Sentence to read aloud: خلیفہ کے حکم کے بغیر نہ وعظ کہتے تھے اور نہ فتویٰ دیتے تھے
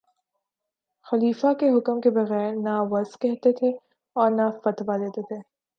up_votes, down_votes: 6, 1